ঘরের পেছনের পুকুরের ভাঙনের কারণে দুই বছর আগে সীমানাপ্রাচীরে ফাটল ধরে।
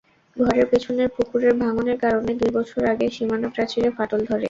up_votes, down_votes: 2, 0